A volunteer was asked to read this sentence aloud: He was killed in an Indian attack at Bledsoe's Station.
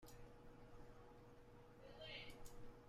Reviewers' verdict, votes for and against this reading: rejected, 0, 2